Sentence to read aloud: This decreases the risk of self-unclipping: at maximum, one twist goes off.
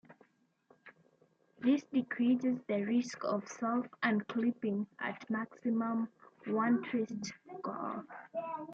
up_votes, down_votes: 2, 0